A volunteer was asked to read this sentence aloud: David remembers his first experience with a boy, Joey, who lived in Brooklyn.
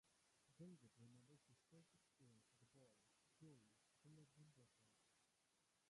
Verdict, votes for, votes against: rejected, 0, 3